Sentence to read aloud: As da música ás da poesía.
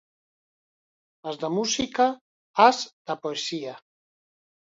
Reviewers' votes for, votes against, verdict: 4, 2, accepted